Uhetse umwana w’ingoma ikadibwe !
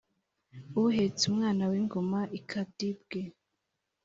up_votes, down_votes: 2, 0